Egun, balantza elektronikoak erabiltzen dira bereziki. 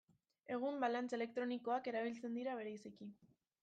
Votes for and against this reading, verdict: 1, 2, rejected